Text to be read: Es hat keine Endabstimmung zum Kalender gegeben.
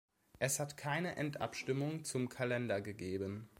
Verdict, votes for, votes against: accepted, 2, 0